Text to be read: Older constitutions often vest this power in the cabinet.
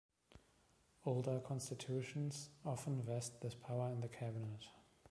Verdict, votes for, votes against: accepted, 2, 0